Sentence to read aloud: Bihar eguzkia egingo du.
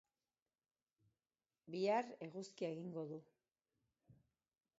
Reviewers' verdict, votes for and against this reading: accepted, 4, 0